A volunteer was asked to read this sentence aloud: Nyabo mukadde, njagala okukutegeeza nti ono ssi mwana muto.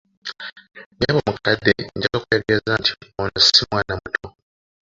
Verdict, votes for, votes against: rejected, 0, 2